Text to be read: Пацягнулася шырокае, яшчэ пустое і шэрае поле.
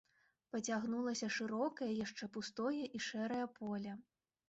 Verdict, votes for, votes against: accepted, 2, 0